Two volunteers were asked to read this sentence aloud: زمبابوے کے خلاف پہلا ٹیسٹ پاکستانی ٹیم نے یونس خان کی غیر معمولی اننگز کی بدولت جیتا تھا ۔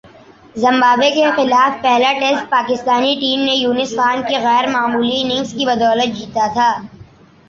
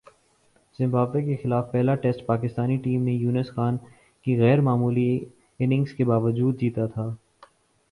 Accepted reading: first